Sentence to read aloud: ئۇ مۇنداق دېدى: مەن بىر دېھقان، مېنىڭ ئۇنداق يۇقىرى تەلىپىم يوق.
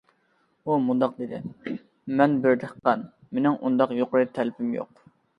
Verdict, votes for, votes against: accepted, 2, 0